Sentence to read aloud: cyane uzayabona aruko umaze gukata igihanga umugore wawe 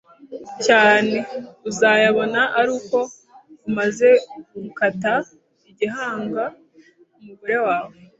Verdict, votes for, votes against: accepted, 2, 0